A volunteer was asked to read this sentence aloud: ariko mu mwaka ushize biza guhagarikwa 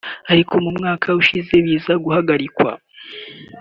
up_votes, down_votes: 2, 0